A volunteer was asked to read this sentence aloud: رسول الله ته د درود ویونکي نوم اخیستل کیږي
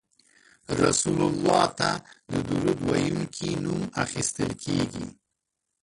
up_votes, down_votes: 2, 1